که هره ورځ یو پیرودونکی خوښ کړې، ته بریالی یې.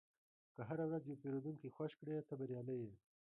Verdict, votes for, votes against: rejected, 1, 2